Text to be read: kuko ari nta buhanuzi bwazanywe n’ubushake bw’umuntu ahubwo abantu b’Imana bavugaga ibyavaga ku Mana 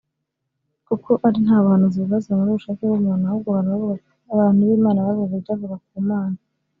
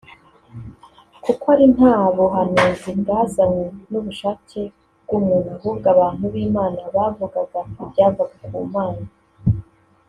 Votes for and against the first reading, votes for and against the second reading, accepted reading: 1, 2, 2, 0, second